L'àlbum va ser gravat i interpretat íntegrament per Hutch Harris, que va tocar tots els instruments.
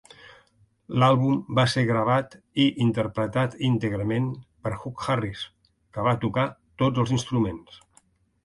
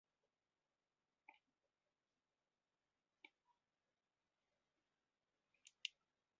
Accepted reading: first